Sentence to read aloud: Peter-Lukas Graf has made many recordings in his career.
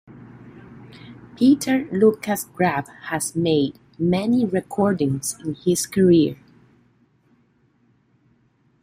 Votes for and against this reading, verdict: 2, 0, accepted